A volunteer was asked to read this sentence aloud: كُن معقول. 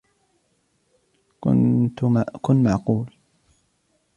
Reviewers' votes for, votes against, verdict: 1, 2, rejected